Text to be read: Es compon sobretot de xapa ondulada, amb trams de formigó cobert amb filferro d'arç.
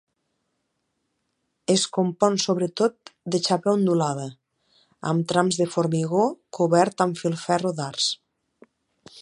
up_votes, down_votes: 2, 0